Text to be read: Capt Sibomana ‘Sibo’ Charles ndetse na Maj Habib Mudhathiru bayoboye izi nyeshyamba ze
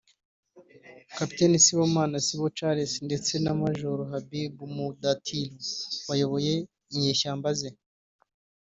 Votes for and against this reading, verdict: 1, 2, rejected